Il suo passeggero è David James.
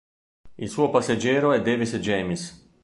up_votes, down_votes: 1, 2